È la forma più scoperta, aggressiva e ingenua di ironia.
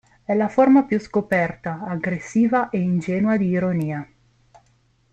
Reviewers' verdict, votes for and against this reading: accepted, 2, 0